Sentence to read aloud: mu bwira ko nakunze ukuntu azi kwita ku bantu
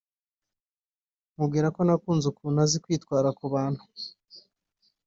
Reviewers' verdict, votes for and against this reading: rejected, 2, 3